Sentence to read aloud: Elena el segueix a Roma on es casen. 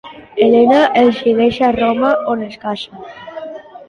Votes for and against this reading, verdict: 1, 2, rejected